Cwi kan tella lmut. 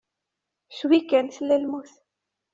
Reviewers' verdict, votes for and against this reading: accepted, 2, 0